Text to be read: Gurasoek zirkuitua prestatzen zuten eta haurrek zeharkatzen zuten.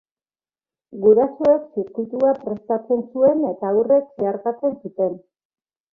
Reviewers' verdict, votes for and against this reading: rejected, 0, 2